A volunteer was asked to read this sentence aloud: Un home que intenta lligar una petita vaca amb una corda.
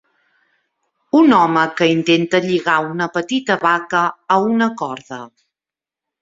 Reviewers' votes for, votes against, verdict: 2, 0, accepted